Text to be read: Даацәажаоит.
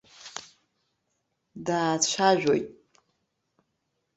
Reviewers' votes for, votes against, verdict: 2, 0, accepted